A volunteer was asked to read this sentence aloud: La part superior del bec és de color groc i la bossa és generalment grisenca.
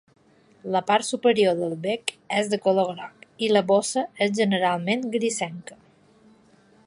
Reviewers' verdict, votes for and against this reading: accepted, 2, 0